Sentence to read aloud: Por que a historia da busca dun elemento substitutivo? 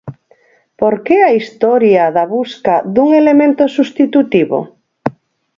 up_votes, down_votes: 4, 0